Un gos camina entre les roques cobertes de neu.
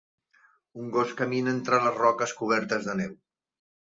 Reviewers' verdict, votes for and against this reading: accepted, 3, 1